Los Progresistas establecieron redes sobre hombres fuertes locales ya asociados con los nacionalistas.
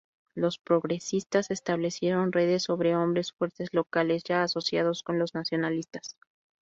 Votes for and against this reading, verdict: 2, 0, accepted